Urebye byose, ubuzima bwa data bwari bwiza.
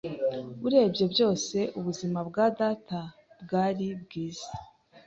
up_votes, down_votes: 2, 0